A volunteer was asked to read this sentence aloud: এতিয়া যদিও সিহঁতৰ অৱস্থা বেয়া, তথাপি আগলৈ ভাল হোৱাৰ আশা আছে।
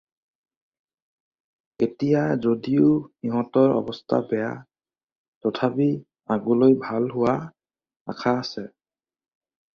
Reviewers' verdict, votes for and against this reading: rejected, 0, 2